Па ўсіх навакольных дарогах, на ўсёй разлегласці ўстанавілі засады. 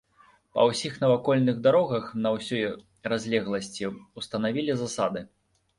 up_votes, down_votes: 0, 2